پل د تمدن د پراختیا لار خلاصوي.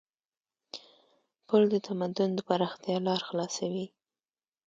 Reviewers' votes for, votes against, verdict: 3, 0, accepted